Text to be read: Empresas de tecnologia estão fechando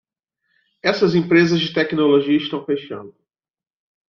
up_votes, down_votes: 0, 2